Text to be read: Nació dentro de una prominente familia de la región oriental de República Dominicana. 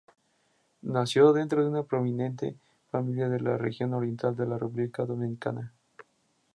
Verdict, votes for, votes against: accepted, 2, 0